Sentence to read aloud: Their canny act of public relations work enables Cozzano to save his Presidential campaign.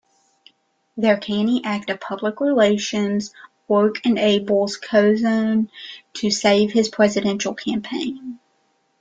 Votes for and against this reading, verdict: 0, 2, rejected